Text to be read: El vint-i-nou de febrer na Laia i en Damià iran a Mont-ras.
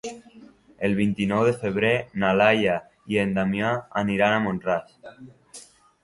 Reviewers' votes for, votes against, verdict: 1, 2, rejected